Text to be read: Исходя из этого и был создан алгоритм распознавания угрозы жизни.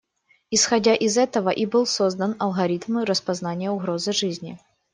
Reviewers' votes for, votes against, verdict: 1, 2, rejected